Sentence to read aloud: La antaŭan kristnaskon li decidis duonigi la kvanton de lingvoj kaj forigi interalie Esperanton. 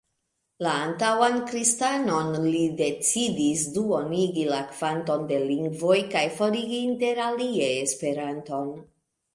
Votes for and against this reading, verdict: 1, 2, rejected